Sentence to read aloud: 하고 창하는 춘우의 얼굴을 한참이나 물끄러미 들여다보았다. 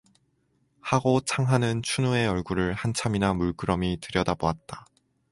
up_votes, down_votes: 2, 0